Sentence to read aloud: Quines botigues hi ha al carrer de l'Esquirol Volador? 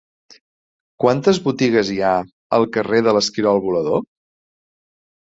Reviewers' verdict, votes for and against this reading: rejected, 0, 2